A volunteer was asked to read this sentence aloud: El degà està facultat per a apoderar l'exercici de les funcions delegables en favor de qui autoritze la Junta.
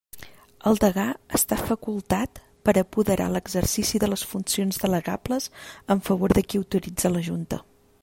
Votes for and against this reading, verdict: 2, 0, accepted